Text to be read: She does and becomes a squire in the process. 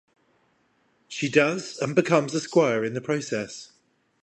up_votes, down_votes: 5, 0